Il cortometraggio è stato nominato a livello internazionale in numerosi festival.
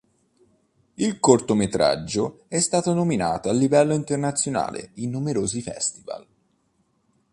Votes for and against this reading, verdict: 5, 0, accepted